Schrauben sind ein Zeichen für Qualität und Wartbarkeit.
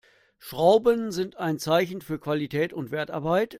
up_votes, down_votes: 0, 2